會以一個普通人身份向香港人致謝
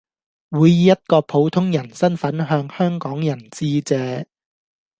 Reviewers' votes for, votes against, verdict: 2, 0, accepted